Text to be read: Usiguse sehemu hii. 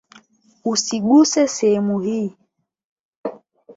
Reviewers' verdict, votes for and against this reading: accepted, 8, 0